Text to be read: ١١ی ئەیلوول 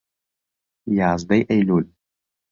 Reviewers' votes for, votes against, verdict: 0, 2, rejected